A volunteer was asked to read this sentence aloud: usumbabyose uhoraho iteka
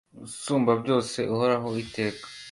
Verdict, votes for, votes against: accepted, 2, 0